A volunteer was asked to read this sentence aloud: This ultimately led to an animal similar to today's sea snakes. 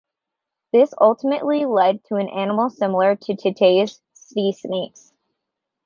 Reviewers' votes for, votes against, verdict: 1, 2, rejected